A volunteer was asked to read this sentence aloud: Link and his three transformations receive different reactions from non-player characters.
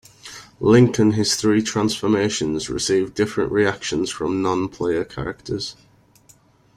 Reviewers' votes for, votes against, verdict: 2, 0, accepted